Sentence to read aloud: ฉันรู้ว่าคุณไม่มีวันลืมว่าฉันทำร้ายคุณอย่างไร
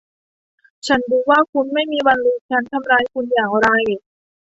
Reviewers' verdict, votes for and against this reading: rejected, 0, 2